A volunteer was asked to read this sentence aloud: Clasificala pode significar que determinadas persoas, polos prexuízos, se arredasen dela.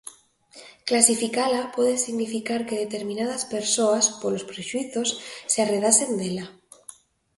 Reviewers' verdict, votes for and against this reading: accepted, 2, 0